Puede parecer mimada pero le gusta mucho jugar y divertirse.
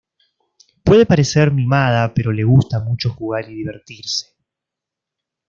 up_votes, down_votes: 2, 0